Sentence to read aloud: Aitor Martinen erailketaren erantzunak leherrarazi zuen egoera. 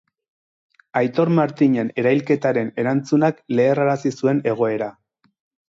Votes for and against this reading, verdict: 2, 0, accepted